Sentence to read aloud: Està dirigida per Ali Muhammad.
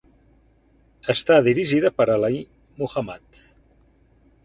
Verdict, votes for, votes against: rejected, 0, 4